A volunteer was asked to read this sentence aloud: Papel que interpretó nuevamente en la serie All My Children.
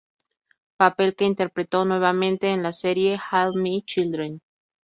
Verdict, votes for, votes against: accepted, 2, 0